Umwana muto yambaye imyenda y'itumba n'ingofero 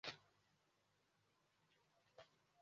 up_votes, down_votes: 0, 2